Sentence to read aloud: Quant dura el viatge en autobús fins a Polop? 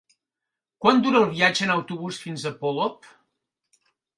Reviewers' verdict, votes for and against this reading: accepted, 3, 0